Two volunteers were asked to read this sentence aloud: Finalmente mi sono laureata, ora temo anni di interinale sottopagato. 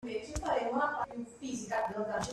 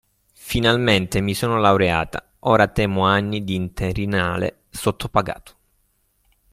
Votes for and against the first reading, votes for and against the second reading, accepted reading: 0, 2, 2, 0, second